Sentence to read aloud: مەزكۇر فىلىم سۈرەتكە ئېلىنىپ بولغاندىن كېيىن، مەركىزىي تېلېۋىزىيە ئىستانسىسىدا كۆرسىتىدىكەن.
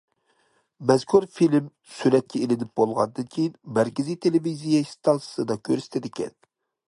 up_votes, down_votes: 2, 0